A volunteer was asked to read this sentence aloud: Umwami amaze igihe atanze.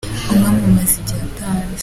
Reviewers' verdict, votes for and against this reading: accepted, 2, 0